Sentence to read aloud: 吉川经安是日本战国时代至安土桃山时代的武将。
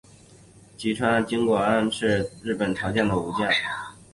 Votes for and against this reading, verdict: 1, 2, rejected